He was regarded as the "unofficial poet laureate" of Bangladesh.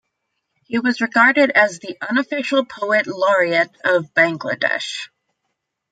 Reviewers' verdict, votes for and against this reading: accepted, 2, 0